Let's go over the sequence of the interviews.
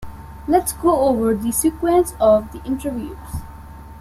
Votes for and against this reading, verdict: 2, 0, accepted